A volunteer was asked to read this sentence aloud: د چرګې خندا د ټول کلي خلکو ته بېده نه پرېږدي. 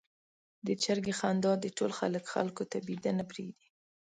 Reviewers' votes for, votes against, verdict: 2, 1, accepted